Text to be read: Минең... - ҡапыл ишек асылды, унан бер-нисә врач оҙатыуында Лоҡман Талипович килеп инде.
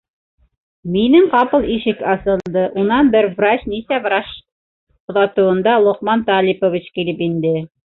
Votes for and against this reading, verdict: 0, 2, rejected